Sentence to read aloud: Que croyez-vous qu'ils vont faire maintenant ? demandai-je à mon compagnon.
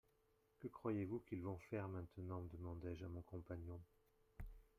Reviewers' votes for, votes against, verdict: 2, 0, accepted